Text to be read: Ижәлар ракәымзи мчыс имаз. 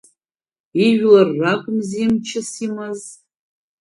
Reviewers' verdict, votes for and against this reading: accepted, 2, 0